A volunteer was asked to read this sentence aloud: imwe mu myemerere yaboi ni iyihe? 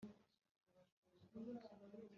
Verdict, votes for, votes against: rejected, 1, 2